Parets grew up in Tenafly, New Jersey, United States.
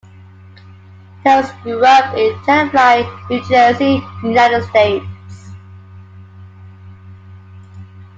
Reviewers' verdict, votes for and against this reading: rejected, 0, 2